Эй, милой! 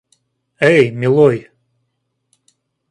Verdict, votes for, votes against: accepted, 2, 0